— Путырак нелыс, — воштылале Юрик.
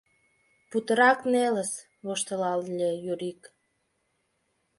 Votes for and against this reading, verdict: 1, 4, rejected